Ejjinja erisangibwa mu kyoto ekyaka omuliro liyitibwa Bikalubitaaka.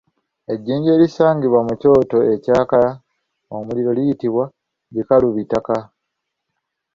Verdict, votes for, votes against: rejected, 1, 2